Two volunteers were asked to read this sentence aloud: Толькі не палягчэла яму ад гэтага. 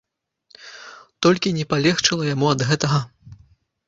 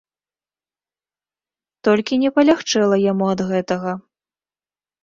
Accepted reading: second